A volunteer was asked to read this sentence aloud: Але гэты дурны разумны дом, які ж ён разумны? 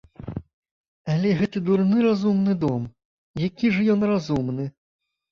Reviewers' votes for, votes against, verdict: 2, 0, accepted